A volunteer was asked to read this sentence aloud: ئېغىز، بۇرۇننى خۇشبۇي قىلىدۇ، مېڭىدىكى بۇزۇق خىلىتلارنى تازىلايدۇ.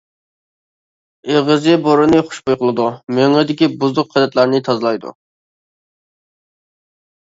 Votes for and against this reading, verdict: 0, 2, rejected